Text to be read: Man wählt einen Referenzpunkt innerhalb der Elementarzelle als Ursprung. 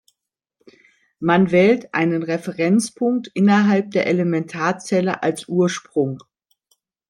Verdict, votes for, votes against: accepted, 2, 0